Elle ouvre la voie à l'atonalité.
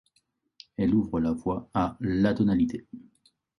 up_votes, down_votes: 2, 1